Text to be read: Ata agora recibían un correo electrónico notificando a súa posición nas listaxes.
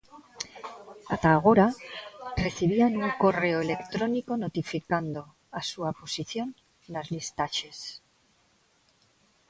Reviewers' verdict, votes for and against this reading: rejected, 0, 2